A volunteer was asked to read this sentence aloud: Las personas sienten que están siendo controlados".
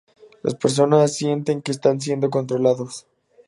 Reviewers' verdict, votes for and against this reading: accepted, 4, 0